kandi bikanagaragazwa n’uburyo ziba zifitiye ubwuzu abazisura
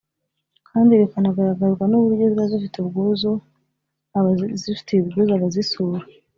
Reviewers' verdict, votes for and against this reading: rejected, 0, 2